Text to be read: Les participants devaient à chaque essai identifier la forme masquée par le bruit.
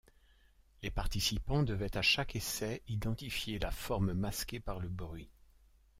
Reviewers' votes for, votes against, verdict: 2, 0, accepted